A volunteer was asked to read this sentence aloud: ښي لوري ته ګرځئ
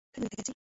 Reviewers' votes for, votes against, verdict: 1, 2, rejected